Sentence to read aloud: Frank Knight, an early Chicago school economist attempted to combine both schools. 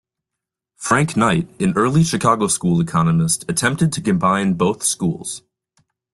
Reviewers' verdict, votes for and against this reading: accepted, 2, 0